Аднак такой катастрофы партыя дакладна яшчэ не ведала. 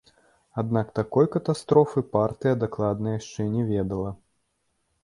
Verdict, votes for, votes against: accepted, 2, 0